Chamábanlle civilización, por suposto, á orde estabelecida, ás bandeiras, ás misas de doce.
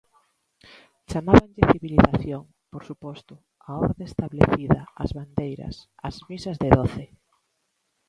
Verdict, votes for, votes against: rejected, 0, 2